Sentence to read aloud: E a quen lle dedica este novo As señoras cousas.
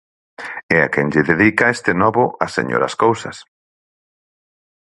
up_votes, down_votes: 6, 0